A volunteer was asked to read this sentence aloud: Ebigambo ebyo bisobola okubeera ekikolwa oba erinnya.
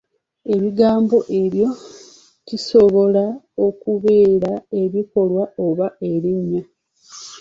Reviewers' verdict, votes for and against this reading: rejected, 0, 2